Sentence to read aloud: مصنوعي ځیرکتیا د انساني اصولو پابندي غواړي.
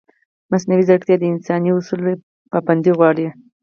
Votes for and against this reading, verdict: 4, 0, accepted